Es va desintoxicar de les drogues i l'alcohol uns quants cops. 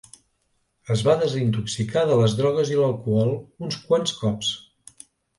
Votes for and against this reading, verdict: 2, 0, accepted